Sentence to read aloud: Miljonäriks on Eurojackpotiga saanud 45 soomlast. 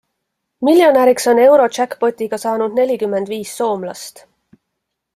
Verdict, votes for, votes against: rejected, 0, 2